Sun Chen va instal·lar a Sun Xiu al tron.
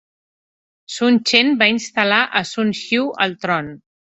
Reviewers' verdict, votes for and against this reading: accepted, 2, 0